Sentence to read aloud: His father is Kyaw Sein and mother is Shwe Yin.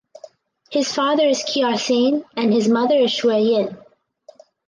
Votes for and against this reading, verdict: 0, 4, rejected